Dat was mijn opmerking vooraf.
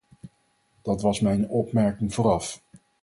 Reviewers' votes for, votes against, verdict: 4, 0, accepted